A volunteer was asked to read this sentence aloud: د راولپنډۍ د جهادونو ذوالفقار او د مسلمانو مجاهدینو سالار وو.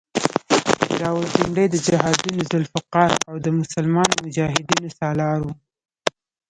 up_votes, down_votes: 1, 2